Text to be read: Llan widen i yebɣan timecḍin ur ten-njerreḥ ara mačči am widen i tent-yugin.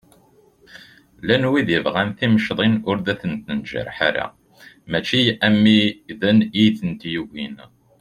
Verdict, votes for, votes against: accepted, 2, 1